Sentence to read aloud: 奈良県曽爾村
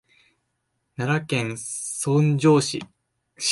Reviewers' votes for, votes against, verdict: 0, 2, rejected